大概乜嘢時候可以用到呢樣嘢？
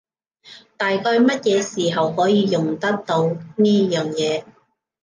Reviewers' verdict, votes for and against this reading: rejected, 1, 2